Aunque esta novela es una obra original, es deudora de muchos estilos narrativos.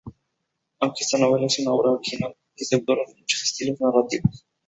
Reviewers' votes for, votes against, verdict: 0, 2, rejected